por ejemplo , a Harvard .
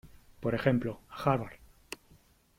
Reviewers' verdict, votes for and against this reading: rejected, 1, 3